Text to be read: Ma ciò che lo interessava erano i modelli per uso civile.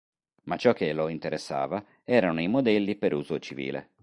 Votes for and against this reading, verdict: 2, 0, accepted